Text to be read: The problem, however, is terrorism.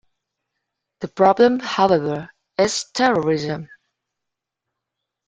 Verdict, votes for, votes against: rejected, 0, 2